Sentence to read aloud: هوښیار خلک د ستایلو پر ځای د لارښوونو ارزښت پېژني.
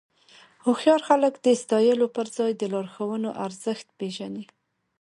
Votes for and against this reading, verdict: 2, 0, accepted